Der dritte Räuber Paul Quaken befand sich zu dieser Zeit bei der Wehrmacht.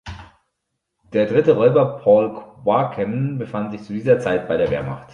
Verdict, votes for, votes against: rejected, 1, 2